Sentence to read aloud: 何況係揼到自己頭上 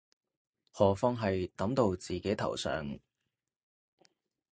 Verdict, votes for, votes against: accepted, 2, 0